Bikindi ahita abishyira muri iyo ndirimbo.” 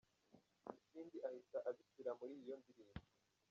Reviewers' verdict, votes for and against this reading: rejected, 0, 2